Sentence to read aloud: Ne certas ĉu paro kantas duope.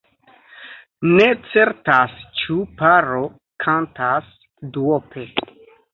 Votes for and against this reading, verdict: 3, 1, accepted